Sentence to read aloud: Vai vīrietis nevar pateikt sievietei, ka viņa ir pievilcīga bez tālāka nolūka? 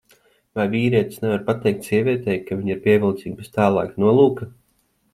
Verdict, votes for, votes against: accepted, 2, 0